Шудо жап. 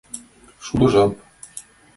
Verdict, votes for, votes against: accepted, 2, 0